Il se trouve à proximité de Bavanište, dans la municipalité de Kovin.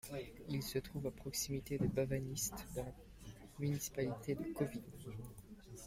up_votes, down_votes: 2, 1